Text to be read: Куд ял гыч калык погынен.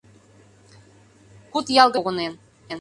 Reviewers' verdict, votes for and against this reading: rejected, 0, 2